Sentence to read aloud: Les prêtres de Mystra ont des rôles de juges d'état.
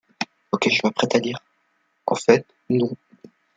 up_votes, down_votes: 1, 3